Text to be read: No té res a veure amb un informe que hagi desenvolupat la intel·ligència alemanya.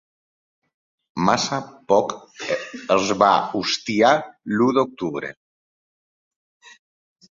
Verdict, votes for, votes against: rejected, 0, 2